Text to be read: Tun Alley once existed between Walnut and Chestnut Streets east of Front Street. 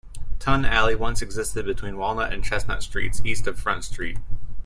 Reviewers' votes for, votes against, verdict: 2, 0, accepted